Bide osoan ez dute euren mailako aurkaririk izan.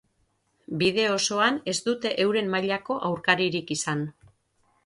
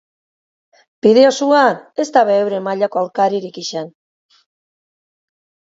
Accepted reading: first